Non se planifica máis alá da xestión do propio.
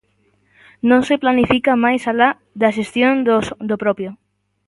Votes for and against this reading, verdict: 0, 2, rejected